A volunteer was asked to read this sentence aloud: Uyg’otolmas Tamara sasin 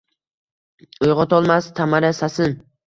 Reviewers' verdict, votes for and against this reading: accepted, 2, 0